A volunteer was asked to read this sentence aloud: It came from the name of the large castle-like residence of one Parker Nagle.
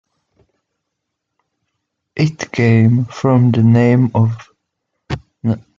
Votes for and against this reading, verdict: 0, 2, rejected